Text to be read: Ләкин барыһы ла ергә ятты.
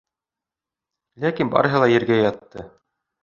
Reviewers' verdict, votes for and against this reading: accepted, 2, 0